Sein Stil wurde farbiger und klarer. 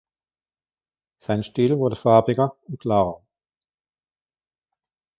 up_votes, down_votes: 3, 1